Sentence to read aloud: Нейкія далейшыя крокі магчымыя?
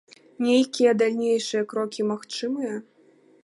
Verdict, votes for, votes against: rejected, 0, 2